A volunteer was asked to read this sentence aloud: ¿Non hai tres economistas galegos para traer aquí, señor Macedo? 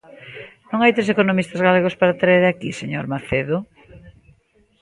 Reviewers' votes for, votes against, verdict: 2, 0, accepted